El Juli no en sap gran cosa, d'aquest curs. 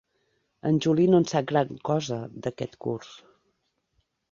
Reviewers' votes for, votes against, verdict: 1, 2, rejected